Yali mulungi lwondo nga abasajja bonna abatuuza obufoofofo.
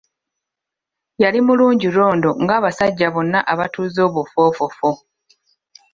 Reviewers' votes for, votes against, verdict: 1, 2, rejected